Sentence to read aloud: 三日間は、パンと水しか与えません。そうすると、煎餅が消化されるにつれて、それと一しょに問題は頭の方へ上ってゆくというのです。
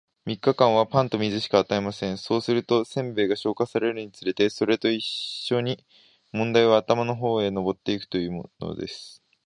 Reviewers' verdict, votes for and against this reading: accepted, 2, 0